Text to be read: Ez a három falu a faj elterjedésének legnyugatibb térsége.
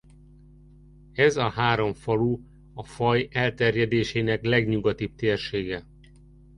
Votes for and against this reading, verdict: 2, 0, accepted